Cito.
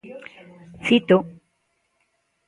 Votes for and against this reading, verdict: 2, 0, accepted